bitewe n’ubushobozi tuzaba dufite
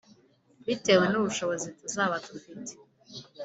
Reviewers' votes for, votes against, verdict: 3, 0, accepted